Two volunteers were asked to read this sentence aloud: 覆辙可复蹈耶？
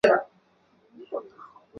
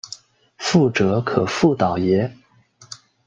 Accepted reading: second